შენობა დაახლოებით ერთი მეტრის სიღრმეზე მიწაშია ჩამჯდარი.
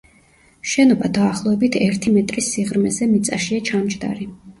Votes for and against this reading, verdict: 2, 0, accepted